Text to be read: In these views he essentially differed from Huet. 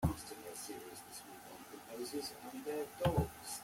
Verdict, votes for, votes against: rejected, 1, 2